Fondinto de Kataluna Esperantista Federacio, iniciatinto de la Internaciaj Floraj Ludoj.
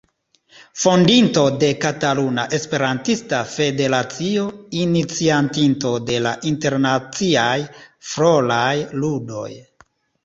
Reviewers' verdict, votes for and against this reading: rejected, 1, 2